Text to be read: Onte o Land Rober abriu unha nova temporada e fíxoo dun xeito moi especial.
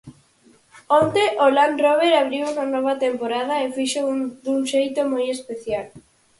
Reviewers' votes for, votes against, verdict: 4, 0, accepted